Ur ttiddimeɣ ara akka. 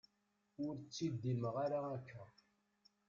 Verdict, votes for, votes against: rejected, 0, 2